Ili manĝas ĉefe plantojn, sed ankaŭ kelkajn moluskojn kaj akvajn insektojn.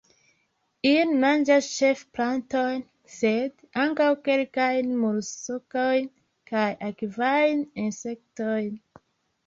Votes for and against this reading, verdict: 2, 0, accepted